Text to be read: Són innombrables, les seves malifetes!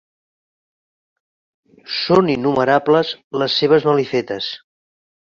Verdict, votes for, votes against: rejected, 0, 3